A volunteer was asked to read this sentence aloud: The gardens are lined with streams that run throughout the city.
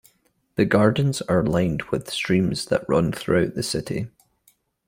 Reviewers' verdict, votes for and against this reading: accepted, 2, 0